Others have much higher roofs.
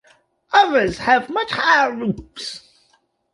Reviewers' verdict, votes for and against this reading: accepted, 2, 0